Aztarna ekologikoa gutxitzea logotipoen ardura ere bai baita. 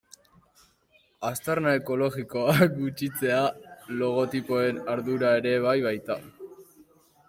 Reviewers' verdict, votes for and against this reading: rejected, 3, 3